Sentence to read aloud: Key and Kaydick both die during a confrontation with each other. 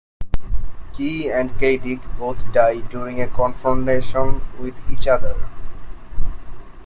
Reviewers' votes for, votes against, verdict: 0, 2, rejected